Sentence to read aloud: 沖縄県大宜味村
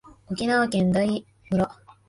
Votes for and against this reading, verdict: 1, 2, rejected